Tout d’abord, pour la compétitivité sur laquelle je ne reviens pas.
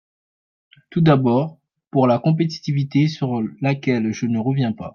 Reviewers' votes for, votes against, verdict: 0, 3, rejected